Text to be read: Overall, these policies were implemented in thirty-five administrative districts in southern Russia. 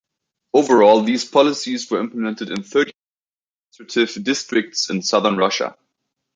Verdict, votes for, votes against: rejected, 0, 2